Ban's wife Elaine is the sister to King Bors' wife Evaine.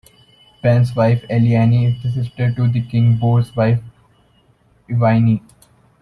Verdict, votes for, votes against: rejected, 1, 2